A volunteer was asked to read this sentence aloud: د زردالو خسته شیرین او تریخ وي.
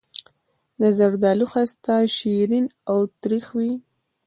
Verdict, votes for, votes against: accepted, 2, 0